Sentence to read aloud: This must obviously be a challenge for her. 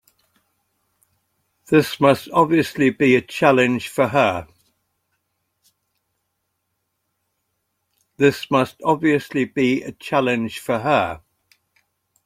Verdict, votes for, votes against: rejected, 0, 2